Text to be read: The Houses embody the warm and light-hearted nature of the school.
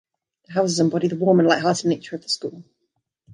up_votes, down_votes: 0, 2